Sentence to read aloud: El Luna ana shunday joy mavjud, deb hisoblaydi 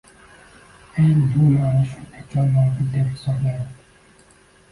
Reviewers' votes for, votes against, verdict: 1, 2, rejected